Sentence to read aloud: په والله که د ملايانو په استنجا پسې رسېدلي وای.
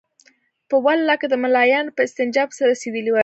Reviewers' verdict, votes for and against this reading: rejected, 0, 2